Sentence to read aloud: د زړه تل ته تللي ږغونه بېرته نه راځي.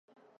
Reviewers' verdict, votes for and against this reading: rejected, 0, 2